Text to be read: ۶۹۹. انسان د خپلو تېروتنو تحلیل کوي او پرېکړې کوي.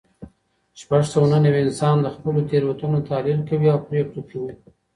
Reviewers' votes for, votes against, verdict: 0, 2, rejected